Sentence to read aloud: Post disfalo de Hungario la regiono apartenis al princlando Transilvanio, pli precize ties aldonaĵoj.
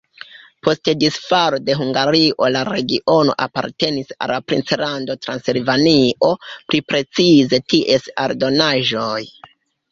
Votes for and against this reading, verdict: 1, 2, rejected